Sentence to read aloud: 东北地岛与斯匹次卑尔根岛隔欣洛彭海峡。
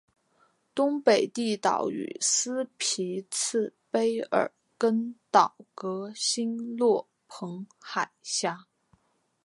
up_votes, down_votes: 3, 0